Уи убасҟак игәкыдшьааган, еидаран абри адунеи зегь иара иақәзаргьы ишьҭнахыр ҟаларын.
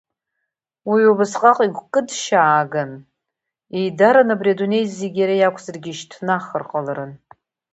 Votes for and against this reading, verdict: 2, 0, accepted